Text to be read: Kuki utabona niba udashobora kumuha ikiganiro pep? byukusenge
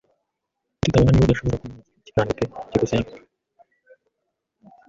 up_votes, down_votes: 0, 2